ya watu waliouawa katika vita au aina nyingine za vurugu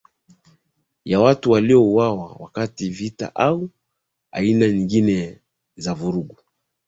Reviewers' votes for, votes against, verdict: 1, 2, rejected